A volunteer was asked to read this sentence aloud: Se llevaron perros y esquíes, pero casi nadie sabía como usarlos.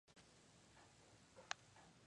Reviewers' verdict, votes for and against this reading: rejected, 2, 6